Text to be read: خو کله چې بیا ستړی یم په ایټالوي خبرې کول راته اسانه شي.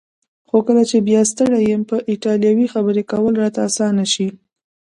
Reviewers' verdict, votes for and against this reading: rejected, 0, 2